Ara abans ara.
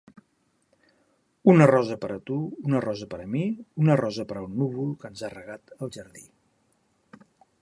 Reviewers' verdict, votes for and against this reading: rejected, 0, 2